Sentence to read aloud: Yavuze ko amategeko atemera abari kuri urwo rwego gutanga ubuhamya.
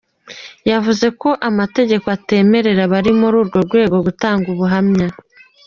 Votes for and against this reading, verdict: 2, 0, accepted